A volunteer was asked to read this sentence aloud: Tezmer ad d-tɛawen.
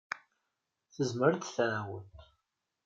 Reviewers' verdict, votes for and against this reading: accepted, 3, 0